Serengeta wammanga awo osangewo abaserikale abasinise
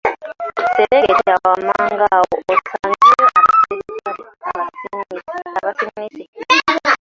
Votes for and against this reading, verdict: 0, 2, rejected